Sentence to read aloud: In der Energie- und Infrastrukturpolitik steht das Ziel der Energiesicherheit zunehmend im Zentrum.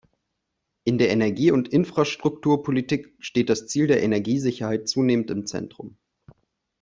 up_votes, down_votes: 2, 0